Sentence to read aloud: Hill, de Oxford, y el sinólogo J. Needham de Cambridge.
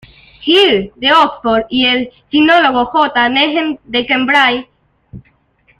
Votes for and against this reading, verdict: 1, 2, rejected